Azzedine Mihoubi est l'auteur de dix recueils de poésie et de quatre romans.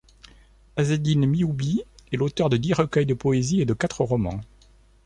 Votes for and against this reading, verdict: 2, 0, accepted